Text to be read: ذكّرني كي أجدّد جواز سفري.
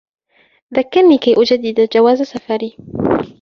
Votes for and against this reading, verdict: 2, 0, accepted